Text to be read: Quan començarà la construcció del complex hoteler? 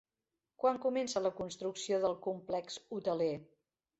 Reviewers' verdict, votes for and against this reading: rejected, 0, 2